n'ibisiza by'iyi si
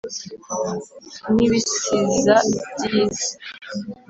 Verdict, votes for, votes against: accepted, 4, 0